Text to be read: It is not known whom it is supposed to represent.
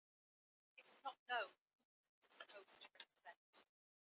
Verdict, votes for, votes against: rejected, 0, 2